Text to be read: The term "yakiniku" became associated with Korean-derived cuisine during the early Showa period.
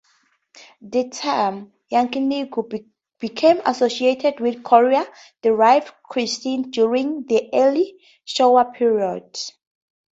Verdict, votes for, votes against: accepted, 4, 0